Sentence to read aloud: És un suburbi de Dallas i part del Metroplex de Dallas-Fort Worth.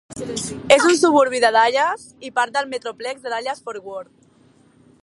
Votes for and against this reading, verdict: 0, 2, rejected